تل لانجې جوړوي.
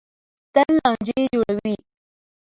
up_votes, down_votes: 2, 1